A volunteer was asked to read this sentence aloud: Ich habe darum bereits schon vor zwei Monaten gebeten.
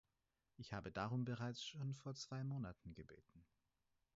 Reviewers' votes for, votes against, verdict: 4, 2, accepted